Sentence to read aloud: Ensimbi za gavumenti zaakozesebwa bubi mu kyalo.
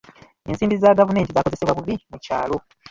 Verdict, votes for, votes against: rejected, 0, 2